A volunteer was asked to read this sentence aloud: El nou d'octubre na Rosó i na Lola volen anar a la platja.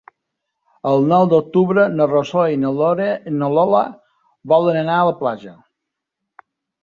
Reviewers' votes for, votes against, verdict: 1, 2, rejected